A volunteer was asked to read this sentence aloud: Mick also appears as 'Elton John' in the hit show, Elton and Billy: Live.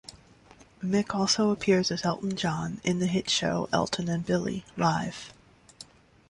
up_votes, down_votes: 2, 0